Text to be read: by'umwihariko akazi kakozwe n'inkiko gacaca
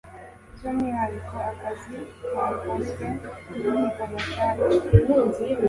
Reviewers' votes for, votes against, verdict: 1, 2, rejected